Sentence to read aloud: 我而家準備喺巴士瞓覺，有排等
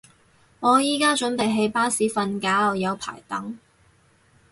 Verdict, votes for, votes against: rejected, 2, 4